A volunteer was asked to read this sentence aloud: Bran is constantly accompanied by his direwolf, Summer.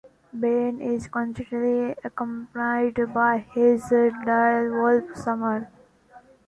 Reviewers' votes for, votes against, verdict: 1, 2, rejected